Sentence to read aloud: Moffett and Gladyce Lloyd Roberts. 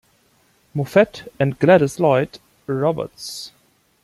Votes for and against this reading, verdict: 2, 0, accepted